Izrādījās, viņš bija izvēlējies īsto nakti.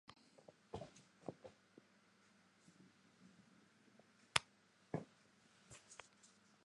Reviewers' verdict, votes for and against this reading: rejected, 0, 2